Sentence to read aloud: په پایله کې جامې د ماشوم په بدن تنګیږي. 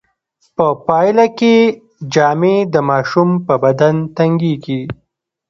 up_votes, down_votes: 1, 2